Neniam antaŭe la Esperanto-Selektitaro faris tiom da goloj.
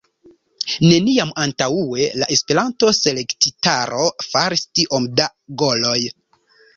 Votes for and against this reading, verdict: 1, 2, rejected